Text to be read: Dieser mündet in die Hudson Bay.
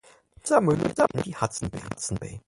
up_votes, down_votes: 0, 4